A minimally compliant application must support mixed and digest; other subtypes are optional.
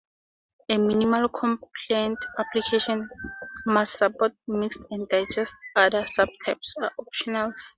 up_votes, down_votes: 2, 0